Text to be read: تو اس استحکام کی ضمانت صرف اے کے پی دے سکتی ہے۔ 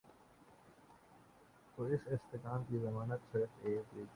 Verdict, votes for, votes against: rejected, 0, 3